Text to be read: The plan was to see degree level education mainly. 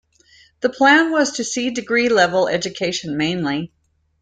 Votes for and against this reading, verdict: 2, 0, accepted